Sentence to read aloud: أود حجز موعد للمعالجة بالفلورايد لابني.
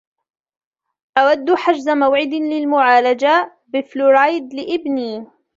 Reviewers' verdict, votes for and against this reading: accepted, 2, 0